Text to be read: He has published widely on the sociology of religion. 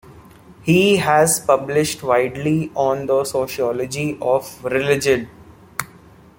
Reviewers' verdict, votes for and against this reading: accepted, 2, 0